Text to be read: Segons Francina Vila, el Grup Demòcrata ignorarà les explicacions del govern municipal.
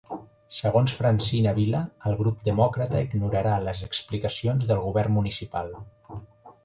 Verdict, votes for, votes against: accepted, 5, 1